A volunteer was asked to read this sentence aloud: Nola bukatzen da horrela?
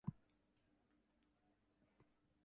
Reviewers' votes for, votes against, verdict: 2, 6, rejected